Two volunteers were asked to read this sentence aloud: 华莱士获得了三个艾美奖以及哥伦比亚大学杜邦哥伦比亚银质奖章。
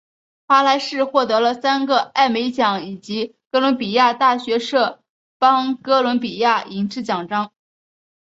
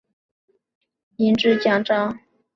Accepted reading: first